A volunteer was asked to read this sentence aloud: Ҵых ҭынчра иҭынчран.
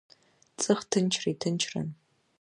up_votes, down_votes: 0, 3